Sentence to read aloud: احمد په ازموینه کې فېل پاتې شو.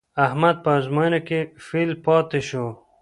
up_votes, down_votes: 1, 2